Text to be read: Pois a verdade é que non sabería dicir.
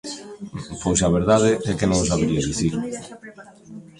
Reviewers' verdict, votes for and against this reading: rejected, 1, 2